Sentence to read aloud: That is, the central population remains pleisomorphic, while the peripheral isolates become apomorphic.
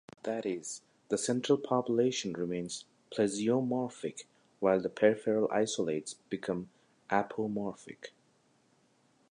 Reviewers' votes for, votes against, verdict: 1, 2, rejected